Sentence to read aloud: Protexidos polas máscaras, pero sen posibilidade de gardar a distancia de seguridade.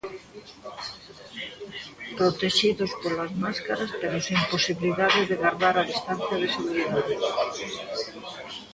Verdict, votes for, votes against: rejected, 0, 2